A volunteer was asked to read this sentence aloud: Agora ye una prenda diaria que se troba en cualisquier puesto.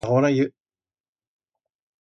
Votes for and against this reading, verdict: 1, 2, rejected